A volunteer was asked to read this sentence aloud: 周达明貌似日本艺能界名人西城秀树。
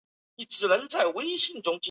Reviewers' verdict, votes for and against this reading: rejected, 1, 2